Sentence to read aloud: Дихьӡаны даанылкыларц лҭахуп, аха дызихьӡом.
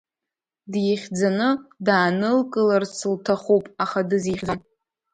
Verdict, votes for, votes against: accepted, 2, 1